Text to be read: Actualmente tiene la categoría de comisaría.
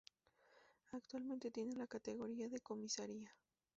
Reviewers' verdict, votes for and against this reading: rejected, 0, 2